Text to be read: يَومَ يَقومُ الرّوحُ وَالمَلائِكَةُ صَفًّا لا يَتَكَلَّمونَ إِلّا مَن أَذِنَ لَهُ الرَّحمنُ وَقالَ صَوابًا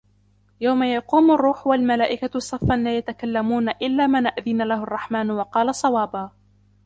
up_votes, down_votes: 0, 2